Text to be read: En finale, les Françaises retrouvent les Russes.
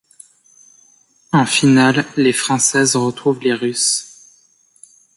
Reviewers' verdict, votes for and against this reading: accepted, 2, 0